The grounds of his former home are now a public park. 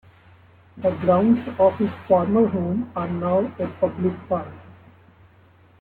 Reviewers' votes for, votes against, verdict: 2, 1, accepted